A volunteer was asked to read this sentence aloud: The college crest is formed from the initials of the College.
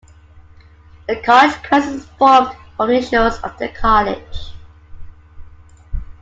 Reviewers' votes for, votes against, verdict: 1, 2, rejected